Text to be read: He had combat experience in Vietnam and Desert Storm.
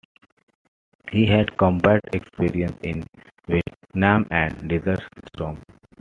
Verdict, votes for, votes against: accepted, 2, 0